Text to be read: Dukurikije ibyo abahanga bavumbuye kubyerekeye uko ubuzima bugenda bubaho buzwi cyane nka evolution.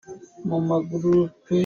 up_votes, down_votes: 0, 2